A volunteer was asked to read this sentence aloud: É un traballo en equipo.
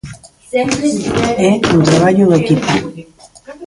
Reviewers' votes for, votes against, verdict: 1, 2, rejected